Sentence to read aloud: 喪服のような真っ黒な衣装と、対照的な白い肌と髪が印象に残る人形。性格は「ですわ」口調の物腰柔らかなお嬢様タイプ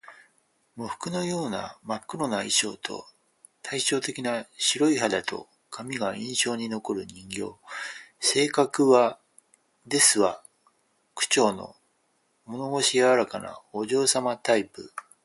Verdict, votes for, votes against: accepted, 4, 0